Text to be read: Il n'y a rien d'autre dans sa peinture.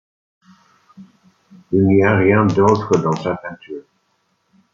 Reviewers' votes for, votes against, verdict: 2, 0, accepted